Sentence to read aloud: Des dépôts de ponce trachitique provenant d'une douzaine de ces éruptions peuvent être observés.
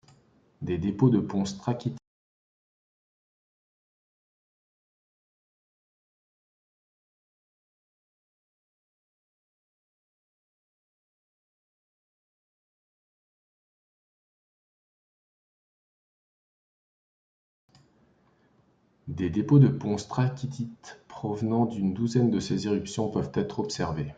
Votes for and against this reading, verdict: 0, 2, rejected